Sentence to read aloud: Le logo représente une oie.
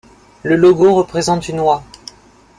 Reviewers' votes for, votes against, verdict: 2, 1, accepted